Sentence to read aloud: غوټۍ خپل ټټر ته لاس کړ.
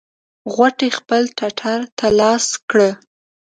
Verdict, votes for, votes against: rejected, 1, 2